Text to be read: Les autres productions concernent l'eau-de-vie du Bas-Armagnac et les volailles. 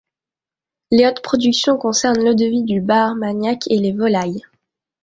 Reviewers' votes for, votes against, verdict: 2, 0, accepted